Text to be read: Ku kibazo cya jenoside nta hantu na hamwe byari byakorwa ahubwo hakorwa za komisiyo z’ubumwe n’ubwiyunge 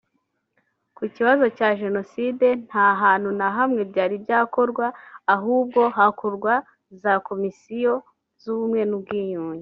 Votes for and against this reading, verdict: 1, 2, rejected